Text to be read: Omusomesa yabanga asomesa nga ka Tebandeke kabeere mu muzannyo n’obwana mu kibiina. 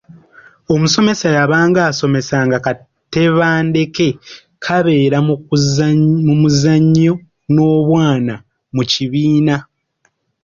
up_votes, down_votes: 0, 2